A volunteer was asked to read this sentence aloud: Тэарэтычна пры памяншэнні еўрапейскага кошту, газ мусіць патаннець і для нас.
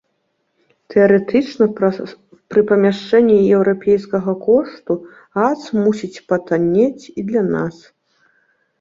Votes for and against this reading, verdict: 1, 2, rejected